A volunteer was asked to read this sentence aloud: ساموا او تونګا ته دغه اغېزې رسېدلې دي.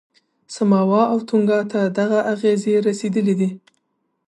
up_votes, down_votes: 3, 0